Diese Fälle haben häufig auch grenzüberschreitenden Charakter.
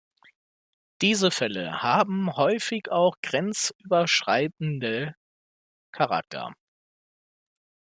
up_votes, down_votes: 0, 2